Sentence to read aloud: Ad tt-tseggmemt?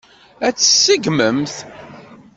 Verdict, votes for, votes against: accepted, 2, 0